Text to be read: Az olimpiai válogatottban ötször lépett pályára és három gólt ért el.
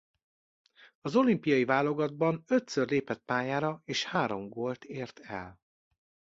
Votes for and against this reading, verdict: 0, 2, rejected